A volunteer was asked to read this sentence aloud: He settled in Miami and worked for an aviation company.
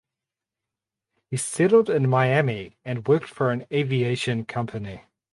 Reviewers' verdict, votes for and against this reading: rejected, 2, 2